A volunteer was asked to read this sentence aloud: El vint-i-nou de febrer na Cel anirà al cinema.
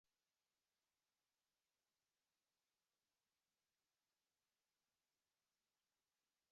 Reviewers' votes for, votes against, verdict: 0, 2, rejected